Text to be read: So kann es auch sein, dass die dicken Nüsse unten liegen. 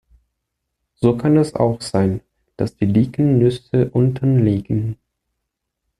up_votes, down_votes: 2, 0